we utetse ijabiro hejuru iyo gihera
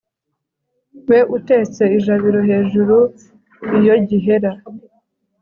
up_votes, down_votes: 2, 0